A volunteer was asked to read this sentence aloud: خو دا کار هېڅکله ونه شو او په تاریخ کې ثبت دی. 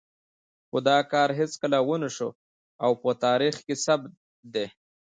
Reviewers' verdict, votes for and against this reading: accepted, 2, 1